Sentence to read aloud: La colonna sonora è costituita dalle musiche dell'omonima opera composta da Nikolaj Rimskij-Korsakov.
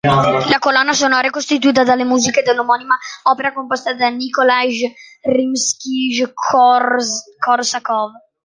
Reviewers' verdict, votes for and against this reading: rejected, 0, 2